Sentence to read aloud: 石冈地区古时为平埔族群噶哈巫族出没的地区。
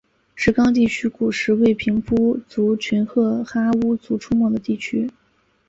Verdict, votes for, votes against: accepted, 2, 0